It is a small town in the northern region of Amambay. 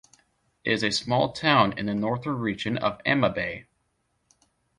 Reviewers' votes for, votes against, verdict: 1, 2, rejected